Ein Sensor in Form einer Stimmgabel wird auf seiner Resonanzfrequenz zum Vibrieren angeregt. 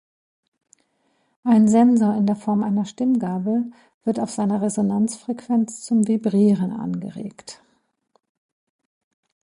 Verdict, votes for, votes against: rejected, 0, 2